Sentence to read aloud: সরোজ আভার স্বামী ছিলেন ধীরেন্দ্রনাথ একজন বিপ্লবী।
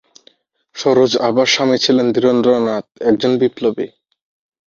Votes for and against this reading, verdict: 8, 0, accepted